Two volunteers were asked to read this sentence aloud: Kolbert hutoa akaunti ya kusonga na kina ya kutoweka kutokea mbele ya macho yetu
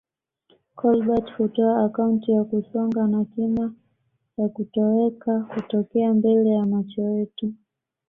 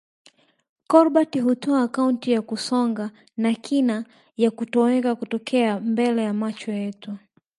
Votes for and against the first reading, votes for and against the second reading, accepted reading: 2, 1, 0, 2, first